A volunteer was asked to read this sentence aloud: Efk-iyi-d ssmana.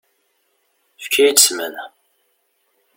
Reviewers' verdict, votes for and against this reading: accepted, 2, 0